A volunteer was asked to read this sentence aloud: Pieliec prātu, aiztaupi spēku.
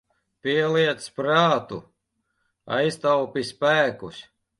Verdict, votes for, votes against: rejected, 0, 2